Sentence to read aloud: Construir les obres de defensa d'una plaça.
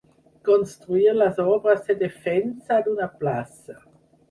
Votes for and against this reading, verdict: 4, 0, accepted